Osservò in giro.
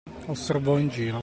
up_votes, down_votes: 2, 0